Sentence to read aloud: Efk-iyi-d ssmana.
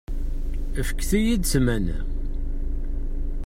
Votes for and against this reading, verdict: 0, 2, rejected